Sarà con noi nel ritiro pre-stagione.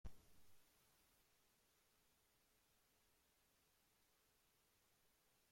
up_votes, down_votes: 0, 2